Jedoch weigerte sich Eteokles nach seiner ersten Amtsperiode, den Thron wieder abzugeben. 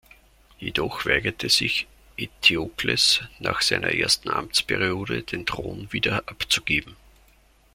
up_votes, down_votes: 2, 0